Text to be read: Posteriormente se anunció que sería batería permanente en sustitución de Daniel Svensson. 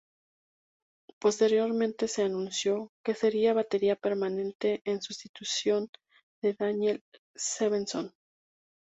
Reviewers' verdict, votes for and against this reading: accepted, 2, 0